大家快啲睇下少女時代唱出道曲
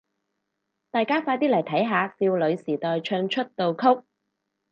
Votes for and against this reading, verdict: 0, 4, rejected